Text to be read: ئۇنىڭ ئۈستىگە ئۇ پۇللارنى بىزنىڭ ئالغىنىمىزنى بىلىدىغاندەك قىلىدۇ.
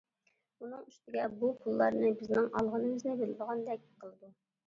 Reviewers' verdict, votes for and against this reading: rejected, 1, 2